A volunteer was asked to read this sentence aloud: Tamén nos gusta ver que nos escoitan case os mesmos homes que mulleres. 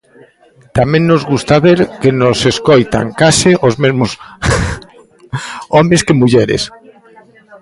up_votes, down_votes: 0, 2